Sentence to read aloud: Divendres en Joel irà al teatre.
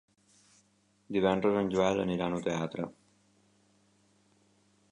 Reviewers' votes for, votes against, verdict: 0, 2, rejected